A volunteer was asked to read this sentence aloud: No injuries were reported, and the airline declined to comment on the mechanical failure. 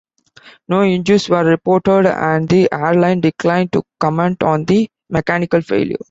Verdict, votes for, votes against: accepted, 2, 0